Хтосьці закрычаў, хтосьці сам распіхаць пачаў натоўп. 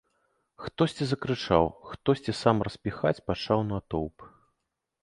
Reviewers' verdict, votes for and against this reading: accepted, 2, 0